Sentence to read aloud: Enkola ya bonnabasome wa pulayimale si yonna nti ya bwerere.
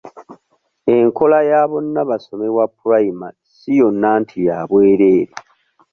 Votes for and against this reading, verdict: 1, 2, rejected